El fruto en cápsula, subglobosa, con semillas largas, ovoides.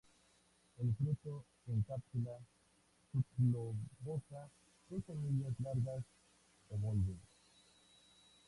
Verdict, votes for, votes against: rejected, 0, 2